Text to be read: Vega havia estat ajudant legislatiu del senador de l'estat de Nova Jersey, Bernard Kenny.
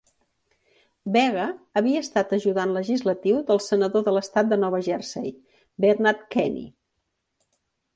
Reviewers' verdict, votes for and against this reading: accepted, 2, 0